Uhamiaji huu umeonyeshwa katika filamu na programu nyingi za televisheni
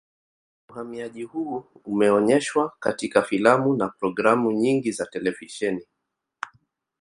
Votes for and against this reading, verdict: 4, 0, accepted